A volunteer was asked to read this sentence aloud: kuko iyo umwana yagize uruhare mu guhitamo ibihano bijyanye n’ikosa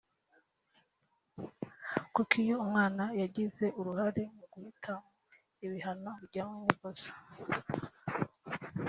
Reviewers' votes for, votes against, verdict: 1, 2, rejected